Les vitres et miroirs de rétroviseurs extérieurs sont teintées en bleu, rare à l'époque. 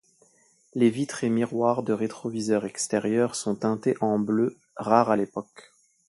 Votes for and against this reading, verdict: 2, 0, accepted